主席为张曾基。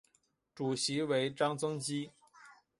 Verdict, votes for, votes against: accepted, 5, 0